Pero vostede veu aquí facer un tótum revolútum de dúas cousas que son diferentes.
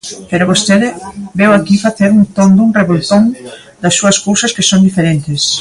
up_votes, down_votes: 0, 2